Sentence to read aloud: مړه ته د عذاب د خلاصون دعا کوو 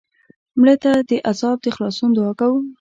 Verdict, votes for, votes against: accepted, 2, 0